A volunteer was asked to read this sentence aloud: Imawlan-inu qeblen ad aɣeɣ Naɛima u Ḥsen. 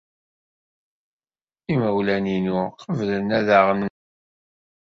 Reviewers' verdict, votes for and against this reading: rejected, 0, 2